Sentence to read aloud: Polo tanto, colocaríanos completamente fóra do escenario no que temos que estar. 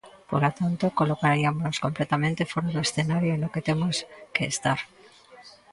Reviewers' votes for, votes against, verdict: 0, 2, rejected